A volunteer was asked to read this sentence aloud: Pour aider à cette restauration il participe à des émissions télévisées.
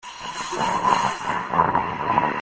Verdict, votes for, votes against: rejected, 0, 2